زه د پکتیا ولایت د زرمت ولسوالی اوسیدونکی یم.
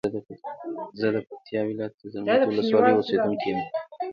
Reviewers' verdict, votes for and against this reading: rejected, 1, 2